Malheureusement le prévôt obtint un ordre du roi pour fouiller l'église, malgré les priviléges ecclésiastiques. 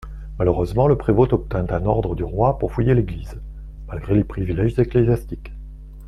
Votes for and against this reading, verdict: 2, 0, accepted